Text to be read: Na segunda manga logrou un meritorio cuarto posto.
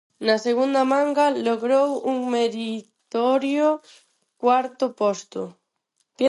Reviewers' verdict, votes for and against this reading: rejected, 0, 4